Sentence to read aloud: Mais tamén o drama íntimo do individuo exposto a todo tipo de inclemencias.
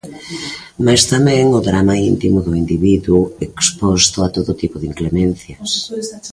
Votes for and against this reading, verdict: 0, 2, rejected